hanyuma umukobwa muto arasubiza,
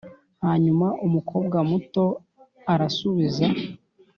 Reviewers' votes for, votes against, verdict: 3, 0, accepted